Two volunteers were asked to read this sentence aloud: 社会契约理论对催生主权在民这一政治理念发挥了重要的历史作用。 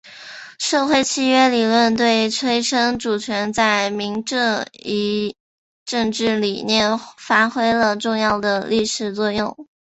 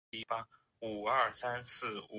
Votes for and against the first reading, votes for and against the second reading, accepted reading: 2, 0, 0, 2, first